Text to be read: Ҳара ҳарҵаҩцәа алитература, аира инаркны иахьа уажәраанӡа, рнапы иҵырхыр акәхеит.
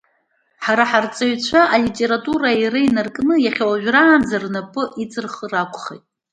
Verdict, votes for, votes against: accepted, 2, 1